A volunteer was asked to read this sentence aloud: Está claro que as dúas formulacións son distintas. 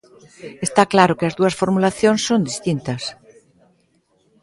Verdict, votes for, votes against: accepted, 2, 0